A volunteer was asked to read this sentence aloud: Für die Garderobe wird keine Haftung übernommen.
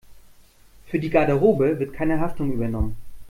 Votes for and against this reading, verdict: 2, 0, accepted